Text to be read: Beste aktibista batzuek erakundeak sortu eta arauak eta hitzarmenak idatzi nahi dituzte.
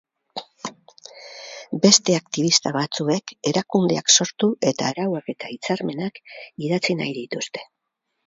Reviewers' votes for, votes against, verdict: 2, 2, rejected